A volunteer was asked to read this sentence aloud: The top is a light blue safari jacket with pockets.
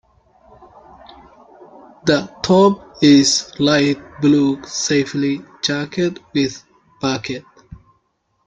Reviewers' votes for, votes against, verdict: 0, 2, rejected